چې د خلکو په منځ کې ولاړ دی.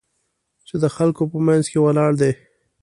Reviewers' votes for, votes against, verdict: 2, 0, accepted